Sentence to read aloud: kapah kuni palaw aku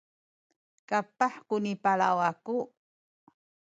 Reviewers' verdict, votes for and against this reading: rejected, 1, 2